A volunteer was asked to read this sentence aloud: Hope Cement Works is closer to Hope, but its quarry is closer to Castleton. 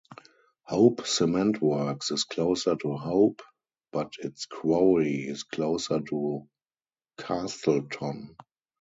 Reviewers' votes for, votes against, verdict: 0, 2, rejected